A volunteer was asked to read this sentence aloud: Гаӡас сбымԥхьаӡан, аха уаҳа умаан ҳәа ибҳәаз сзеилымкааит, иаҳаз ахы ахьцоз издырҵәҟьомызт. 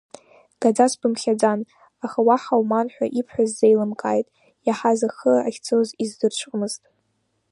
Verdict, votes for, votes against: rejected, 1, 2